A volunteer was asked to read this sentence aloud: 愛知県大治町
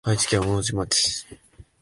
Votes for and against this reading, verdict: 2, 0, accepted